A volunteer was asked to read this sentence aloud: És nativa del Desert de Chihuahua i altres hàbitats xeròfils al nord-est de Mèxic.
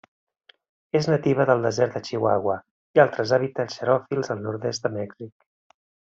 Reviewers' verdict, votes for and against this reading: accepted, 2, 0